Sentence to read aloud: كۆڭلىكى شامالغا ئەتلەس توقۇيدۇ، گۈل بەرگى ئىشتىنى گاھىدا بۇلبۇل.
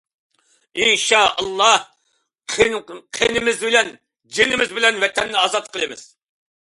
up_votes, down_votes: 0, 2